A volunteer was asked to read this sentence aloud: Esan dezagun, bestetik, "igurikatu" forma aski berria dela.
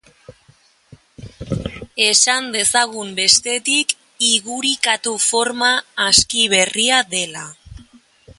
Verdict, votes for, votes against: accepted, 2, 0